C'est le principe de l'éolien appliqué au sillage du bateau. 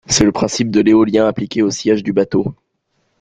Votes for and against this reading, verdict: 2, 0, accepted